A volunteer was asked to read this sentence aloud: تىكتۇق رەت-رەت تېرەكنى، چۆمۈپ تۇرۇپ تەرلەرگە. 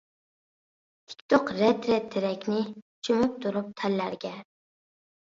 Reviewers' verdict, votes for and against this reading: accepted, 2, 0